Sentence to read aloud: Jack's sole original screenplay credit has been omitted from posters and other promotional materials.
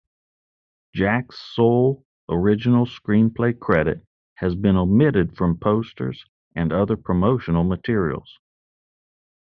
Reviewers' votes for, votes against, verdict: 2, 0, accepted